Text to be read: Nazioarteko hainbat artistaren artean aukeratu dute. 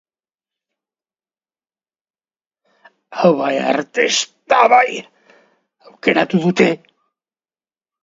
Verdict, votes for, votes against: rejected, 0, 2